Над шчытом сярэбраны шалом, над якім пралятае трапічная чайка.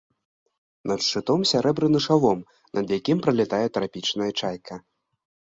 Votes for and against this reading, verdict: 2, 0, accepted